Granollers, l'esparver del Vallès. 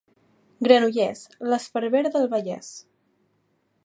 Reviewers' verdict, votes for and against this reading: accepted, 2, 0